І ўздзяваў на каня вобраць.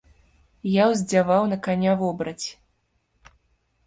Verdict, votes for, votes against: rejected, 1, 2